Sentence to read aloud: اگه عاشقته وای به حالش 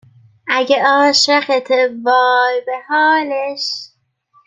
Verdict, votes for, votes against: accepted, 2, 0